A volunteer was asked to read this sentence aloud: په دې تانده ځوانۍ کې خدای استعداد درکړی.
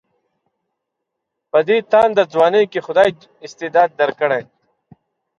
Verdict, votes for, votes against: accepted, 2, 1